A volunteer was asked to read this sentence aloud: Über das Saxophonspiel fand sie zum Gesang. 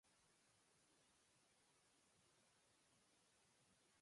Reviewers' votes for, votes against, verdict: 0, 4, rejected